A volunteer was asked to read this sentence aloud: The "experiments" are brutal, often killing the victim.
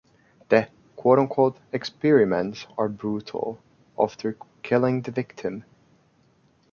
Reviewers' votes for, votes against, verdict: 1, 2, rejected